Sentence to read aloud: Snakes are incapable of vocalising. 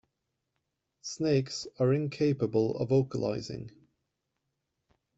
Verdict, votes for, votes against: accepted, 2, 0